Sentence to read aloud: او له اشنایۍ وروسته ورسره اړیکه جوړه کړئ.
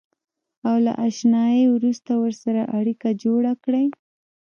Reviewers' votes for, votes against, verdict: 1, 2, rejected